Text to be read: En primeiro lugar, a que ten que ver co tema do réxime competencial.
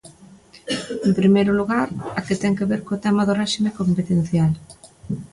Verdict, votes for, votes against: accepted, 2, 0